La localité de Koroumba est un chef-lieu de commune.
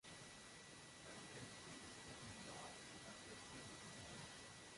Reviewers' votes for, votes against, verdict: 0, 2, rejected